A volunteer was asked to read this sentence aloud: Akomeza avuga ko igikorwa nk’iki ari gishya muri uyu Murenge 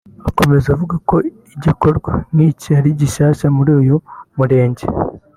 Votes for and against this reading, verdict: 1, 2, rejected